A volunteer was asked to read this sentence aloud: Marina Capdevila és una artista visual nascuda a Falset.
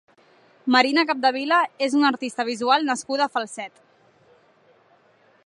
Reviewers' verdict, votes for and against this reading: accepted, 4, 0